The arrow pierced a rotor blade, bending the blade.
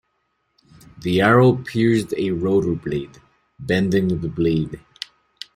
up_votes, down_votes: 0, 2